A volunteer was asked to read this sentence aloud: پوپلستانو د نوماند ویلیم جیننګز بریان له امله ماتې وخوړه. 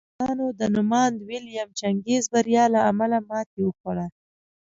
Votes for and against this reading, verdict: 2, 0, accepted